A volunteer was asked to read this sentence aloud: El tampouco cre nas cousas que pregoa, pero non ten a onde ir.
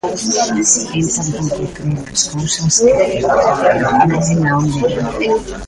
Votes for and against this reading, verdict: 0, 2, rejected